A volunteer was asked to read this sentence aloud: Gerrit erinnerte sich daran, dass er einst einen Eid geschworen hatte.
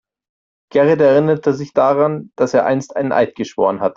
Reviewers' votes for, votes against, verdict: 0, 2, rejected